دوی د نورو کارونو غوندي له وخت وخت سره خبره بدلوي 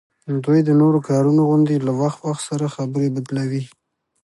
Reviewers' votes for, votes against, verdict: 2, 0, accepted